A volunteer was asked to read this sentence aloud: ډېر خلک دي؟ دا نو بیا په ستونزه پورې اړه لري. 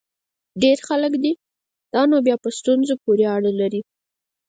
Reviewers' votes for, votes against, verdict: 4, 0, accepted